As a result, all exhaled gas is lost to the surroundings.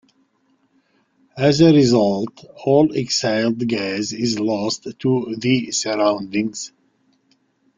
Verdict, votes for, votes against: accepted, 2, 1